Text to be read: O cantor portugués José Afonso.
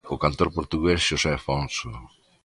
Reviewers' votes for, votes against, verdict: 2, 0, accepted